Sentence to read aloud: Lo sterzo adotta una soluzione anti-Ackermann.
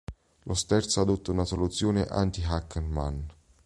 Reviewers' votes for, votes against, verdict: 0, 2, rejected